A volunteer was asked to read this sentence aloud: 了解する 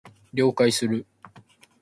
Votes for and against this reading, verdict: 2, 0, accepted